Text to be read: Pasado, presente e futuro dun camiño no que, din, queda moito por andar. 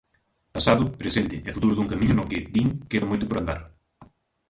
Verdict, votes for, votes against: rejected, 0, 2